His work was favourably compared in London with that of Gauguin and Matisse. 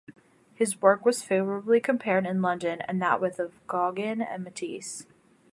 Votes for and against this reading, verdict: 0, 2, rejected